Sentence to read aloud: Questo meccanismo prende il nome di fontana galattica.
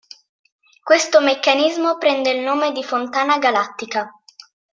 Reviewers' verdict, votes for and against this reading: accepted, 2, 0